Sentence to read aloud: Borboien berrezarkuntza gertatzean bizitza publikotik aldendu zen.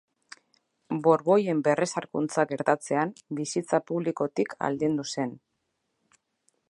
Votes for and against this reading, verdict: 2, 0, accepted